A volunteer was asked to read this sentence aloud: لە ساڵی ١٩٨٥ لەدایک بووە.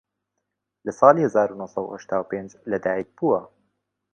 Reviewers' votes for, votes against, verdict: 0, 2, rejected